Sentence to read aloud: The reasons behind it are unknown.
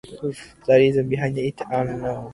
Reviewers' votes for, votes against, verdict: 2, 0, accepted